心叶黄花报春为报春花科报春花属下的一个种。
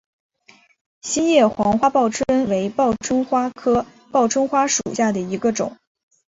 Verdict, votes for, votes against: accepted, 2, 0